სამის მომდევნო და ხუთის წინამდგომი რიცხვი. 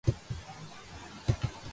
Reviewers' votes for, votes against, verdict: 0, 3, rejected